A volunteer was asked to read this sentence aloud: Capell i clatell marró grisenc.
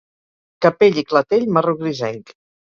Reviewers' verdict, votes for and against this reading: rejected, 2, 2